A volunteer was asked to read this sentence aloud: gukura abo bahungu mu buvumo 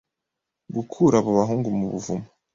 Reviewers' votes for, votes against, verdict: 2, 0, accepted